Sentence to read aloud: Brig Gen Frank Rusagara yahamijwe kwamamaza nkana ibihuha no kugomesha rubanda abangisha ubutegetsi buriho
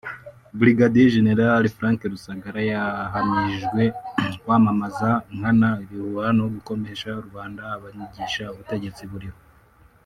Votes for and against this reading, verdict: 0, 2, rejected